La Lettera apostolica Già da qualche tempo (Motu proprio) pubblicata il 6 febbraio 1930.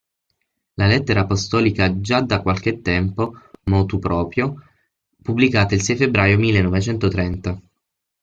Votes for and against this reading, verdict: 0, 2, rejected